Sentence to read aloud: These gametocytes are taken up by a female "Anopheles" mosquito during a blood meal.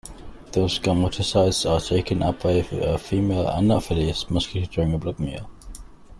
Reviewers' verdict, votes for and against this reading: rejected, 0, 2